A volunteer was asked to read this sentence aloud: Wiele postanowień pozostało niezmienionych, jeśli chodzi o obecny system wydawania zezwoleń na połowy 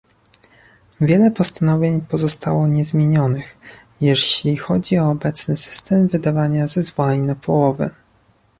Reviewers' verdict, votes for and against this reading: accepted, 2, 0